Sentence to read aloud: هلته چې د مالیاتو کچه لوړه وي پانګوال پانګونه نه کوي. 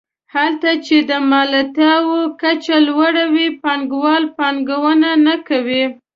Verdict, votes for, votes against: rejected, 0, 2